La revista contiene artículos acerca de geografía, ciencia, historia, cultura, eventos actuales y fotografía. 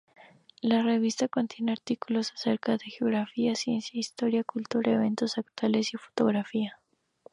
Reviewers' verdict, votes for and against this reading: rejected, 0, 2